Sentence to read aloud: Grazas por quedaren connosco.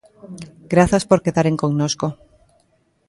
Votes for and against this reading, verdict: 2, 0, accepted